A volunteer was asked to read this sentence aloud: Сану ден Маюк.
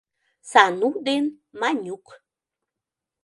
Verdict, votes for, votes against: rejected, 1, 2